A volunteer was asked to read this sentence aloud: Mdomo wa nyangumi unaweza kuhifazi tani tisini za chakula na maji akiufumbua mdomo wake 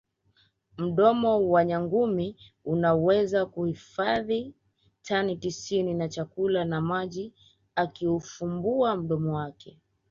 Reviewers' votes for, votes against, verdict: 0, 2, rejected